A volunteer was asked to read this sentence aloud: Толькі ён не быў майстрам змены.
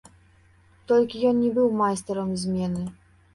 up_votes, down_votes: 1, 2